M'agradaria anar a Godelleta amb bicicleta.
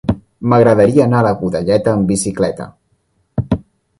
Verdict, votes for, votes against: accepted, 2, 0